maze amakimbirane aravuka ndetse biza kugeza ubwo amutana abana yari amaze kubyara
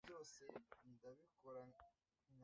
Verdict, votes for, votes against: rejected, 0, 2